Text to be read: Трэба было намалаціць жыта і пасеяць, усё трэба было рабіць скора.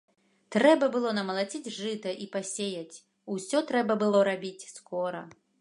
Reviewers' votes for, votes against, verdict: 2, 0, accepted